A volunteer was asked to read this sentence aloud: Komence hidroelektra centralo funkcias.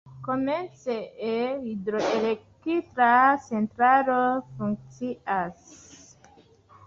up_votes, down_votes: 1, 2